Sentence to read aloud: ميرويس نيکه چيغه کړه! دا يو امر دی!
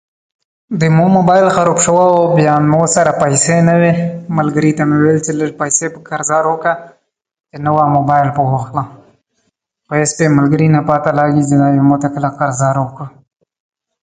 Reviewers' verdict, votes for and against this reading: rejected, 0, 2